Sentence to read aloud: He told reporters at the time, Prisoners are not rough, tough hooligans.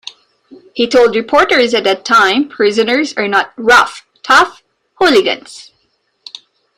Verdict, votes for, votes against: accepted, 2, 0